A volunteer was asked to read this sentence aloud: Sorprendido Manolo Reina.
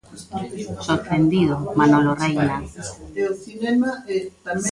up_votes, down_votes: 1, 2